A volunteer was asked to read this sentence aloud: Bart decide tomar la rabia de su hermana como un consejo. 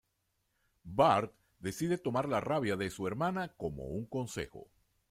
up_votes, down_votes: 2, 0